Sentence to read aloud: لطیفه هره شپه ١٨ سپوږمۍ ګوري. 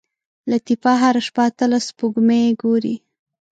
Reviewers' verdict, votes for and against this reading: rejected, 0, 2